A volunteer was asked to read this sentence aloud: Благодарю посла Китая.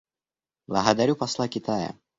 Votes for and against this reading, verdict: 0, 2, rejected